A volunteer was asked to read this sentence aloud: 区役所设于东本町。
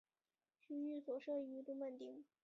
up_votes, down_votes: 0, 3